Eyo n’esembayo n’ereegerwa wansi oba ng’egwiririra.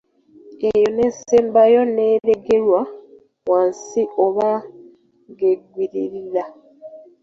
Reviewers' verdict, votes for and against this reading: rejected, 1, 2